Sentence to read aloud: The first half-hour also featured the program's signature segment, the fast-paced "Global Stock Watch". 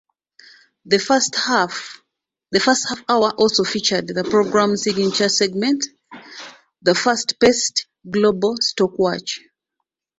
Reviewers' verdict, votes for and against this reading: rejected, 1, 2